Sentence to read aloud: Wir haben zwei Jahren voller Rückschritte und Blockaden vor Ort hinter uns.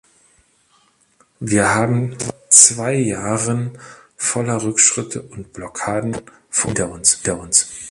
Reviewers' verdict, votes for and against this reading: rejected, 0, 2